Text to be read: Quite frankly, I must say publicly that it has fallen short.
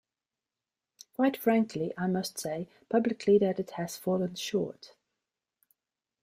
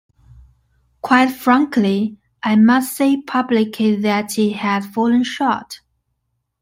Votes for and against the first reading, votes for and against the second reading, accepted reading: 2, 0, 0, 2, first